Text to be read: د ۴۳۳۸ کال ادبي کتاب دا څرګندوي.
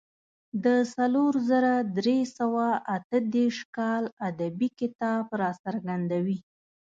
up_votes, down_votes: 0, 2